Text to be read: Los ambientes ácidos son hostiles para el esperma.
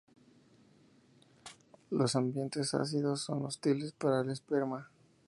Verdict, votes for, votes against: accepted, 2, 0